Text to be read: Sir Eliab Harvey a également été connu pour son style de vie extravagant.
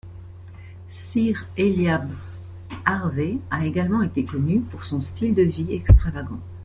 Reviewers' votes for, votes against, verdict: 2, 0, accepted